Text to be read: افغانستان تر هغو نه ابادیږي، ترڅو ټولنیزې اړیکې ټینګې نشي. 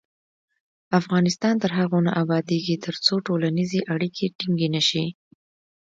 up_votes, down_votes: 2, 0